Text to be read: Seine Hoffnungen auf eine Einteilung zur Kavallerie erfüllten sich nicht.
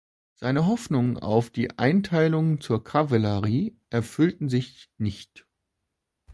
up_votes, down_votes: 1, 2